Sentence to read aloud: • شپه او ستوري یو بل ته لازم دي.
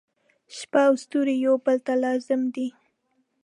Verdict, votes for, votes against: rejected, 1, 2